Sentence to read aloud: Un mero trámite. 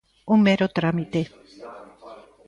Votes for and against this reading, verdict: 1, 2, rejected